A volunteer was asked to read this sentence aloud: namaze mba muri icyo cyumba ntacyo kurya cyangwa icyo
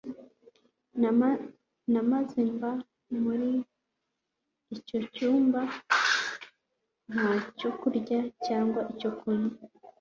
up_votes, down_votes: 0, 2